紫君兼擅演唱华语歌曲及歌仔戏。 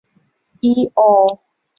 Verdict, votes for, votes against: rejected, 1, 2